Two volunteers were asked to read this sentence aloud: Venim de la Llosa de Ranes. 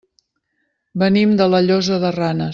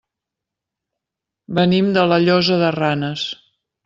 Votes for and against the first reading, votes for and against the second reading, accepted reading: 1, 2, 3, 0, second